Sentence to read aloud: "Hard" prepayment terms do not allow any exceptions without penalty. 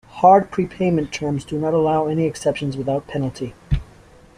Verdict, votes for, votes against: accepted, 2, 0